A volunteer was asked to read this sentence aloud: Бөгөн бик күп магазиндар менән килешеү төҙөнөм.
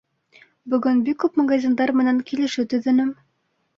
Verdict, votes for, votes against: accepted, 2, 1